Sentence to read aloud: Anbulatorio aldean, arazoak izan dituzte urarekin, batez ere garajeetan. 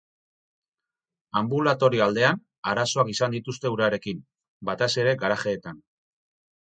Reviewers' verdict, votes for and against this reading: rejected, 0, 2